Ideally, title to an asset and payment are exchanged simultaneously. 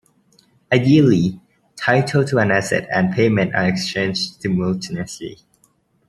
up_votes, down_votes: 0, 2